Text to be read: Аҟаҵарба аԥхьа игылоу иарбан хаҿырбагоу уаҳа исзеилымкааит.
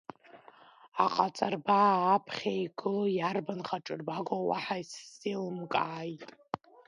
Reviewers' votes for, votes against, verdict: 1, 2, rejected